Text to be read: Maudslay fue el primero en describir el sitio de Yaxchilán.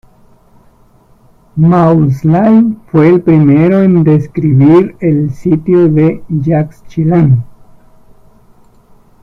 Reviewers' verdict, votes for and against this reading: rejected, 0, 2